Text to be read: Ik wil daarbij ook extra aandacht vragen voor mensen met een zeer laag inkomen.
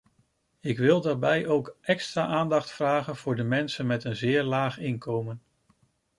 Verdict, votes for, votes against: rejected, 0, 2